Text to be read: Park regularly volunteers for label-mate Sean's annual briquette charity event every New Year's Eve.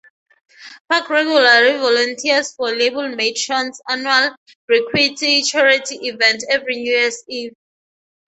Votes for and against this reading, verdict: 3, 0, accepted